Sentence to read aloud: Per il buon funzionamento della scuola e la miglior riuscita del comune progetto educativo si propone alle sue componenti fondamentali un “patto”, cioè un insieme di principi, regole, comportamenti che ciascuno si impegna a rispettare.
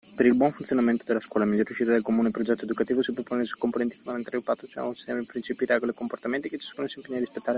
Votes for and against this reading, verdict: 0, 2, rejected